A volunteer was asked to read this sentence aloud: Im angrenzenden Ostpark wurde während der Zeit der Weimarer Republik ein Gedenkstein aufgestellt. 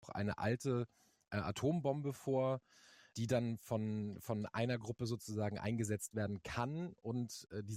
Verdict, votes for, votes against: rejected, 0, 2